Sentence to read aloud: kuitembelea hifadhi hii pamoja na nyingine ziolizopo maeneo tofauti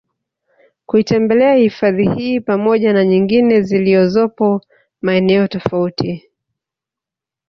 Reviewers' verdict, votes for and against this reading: rejected, 0, 2